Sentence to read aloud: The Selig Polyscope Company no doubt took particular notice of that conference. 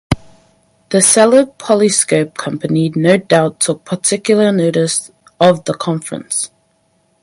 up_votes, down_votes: 0, 4